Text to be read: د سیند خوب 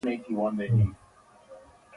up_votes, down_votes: 1, 2